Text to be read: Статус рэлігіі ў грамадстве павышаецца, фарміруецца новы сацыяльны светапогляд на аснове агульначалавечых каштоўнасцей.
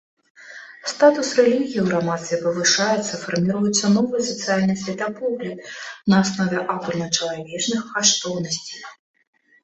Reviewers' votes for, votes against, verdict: 1, 2, rejected